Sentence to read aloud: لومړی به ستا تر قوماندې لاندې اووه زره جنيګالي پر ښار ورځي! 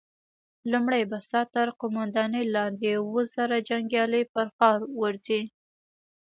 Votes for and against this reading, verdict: 2, 0, accepted